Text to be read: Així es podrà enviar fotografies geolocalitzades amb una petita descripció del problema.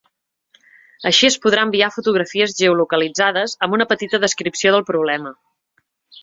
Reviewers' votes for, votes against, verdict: 2, 0, accepted